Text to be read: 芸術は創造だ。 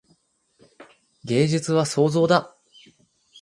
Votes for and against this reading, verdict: 2, 2, rejected